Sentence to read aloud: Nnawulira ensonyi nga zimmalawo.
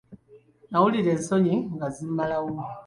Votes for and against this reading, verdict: 2, 0, accepted